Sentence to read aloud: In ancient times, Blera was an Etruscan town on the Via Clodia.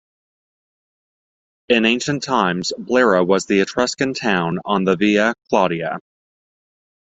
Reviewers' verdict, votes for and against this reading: rejected, 0, 2